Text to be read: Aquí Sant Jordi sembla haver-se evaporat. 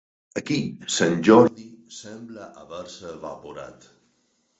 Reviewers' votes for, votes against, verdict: 2, 4, rejected